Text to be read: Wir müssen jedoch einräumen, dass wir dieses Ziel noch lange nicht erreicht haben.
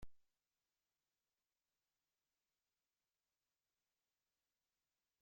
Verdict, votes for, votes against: rejected, 0, 2